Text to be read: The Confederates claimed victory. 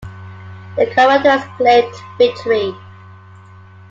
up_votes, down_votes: 0, 2